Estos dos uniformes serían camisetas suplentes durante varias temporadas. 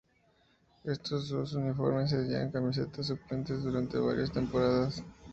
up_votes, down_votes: 0, 2